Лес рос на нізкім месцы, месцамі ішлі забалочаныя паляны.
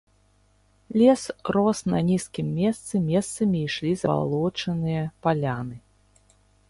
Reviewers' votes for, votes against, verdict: 0, 2, rejected